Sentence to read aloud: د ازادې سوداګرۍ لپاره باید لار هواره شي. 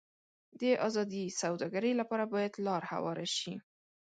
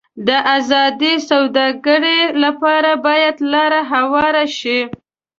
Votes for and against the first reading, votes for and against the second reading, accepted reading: 2, 0, 0, 2, first